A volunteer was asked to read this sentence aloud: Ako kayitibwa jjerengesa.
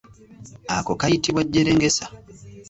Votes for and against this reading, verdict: 2, 0, accepted